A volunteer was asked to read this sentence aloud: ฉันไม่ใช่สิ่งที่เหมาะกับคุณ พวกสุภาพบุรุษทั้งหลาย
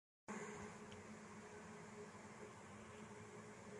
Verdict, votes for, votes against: rejected, 0, 2